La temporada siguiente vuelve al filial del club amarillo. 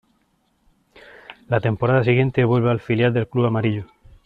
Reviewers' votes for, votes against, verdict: 2, 0, accepted